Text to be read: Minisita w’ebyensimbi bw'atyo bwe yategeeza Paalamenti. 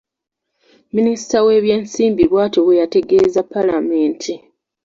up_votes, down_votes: 2, 0